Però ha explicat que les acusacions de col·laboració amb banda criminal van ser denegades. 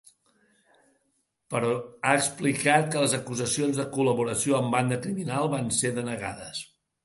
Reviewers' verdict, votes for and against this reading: accepted, 3, 0